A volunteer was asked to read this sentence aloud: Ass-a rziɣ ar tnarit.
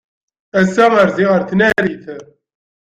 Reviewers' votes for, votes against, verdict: 0, 2, rejected